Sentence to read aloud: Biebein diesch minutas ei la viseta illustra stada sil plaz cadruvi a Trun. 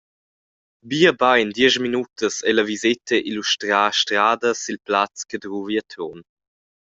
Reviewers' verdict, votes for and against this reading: rejected, 0, 2